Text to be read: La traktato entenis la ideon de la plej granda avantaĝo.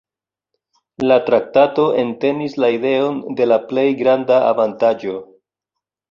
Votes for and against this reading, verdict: 2, 0, accepted